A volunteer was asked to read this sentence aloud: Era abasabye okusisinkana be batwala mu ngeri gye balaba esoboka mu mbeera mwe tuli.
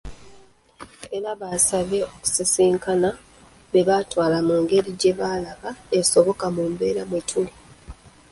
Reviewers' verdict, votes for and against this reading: rejected, 0, 2